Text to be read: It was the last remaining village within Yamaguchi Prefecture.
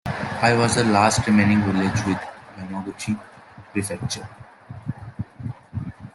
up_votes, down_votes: 0, 2